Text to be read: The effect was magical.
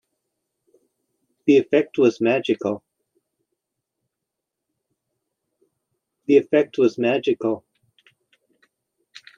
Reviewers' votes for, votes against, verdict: 0, 2, rejected